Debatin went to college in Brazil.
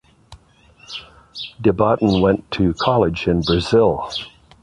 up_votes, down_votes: 2, 0